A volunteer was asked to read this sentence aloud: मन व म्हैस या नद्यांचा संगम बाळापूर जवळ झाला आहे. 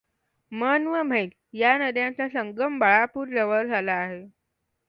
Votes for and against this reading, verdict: 2, 0, accepted